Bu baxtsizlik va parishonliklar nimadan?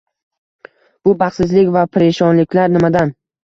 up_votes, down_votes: 2, 0